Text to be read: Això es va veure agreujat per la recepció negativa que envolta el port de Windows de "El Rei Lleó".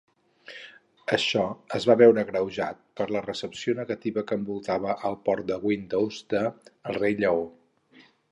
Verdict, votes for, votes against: rejected, 2, 4